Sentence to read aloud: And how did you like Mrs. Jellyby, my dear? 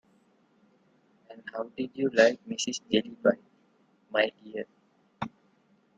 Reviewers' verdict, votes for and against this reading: rejected, 1, 2